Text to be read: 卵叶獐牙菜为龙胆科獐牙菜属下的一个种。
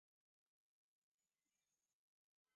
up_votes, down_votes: 0, 3